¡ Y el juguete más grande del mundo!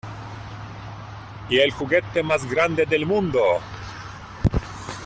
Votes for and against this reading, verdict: 2, 1, accepted